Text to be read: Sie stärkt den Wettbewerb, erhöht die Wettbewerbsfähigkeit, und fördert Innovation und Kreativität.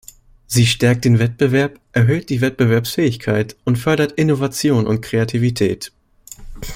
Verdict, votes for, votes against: accepted, 2, 0